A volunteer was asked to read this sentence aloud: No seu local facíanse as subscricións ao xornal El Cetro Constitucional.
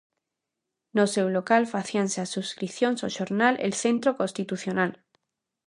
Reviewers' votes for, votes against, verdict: 0, 2, rejected